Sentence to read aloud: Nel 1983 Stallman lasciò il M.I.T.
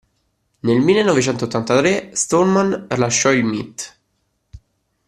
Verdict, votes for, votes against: rejected, 0, 2